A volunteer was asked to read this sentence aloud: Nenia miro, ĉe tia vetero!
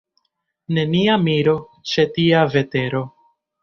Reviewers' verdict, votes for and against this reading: rejected, 1, 2